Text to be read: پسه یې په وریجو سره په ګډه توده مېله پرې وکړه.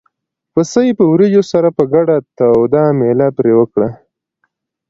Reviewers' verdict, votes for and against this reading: accepted, 2, 0